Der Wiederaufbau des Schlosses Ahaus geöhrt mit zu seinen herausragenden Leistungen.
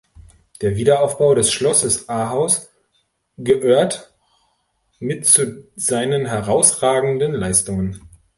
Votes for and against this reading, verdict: 1, 2, rejected